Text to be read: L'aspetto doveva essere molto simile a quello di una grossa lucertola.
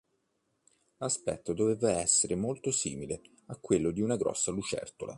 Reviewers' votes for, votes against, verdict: 2, 1, accepted